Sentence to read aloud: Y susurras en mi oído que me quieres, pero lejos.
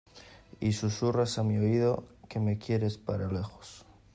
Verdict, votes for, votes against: rejected, 0, 2